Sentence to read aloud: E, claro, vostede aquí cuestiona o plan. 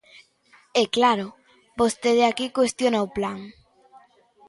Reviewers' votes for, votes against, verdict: 2, 0, accepted